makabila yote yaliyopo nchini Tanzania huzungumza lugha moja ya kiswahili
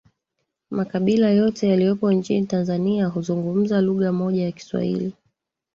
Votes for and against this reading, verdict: 2, 1, accepted